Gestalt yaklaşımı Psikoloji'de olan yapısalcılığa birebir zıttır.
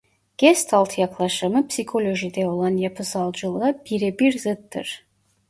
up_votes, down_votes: 0, 2